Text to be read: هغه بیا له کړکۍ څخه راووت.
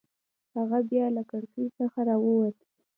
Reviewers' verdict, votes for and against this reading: rejected, 1, 2